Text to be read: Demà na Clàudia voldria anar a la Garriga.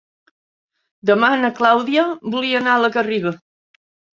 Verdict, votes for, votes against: rejected, 1, 2